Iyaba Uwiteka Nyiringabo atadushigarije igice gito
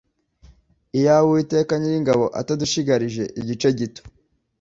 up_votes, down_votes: 2, 1